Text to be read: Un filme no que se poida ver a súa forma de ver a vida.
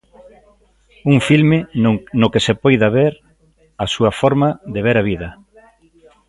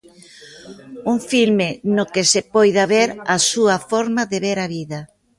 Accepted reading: second